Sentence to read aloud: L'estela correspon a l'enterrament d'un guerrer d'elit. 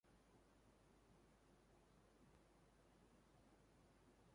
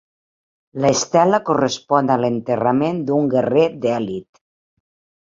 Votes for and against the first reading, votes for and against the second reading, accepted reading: 1, 2, 3, 1, second